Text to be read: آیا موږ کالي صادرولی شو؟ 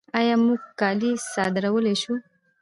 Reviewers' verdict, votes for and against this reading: accepted, 2, 0